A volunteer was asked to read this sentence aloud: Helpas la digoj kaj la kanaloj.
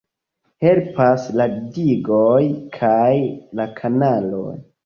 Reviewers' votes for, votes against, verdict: 2, 0, accepted